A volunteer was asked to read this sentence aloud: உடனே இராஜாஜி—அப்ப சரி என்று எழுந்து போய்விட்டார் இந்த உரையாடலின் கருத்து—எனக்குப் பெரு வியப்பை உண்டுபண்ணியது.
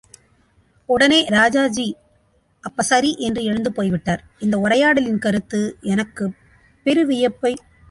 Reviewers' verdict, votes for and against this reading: rejected, 0, 3